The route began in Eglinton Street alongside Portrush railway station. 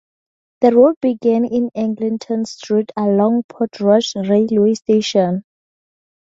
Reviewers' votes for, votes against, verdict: 0, 2, rejected